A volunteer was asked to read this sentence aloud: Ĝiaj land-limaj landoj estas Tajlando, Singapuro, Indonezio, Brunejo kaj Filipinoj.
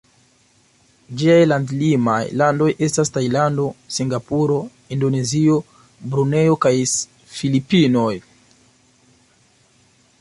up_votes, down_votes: 0, 2